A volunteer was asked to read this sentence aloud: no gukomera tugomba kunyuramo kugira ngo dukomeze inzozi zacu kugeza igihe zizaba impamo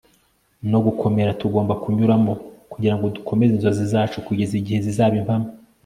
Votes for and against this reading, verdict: 2, 0, accepted